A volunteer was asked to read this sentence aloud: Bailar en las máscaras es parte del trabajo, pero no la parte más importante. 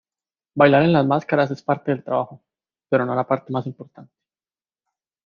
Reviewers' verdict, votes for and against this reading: accepted, 2, 0